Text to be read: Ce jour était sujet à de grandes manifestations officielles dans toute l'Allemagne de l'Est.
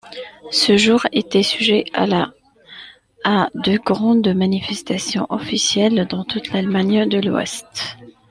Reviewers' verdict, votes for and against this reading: rejected, 1, 2